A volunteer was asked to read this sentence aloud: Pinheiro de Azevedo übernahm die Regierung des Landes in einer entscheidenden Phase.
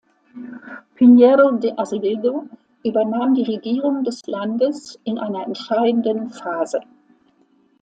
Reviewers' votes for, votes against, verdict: 2, 0, accepted